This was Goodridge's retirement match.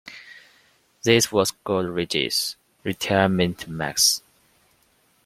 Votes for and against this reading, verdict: 0, 2, rejected